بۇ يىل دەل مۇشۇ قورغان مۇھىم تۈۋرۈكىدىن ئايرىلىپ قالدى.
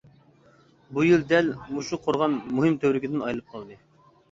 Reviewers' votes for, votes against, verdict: 2, 0, accepted